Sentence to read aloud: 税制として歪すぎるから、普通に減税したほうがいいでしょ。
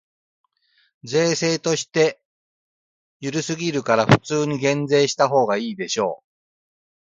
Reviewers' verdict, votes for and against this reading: rejected, 0, 3